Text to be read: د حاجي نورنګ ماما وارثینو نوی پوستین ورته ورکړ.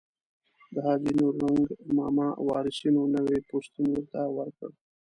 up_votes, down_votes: 0, 2